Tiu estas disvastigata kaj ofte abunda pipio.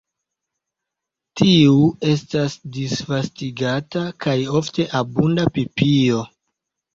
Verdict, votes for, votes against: accepted, 2, 1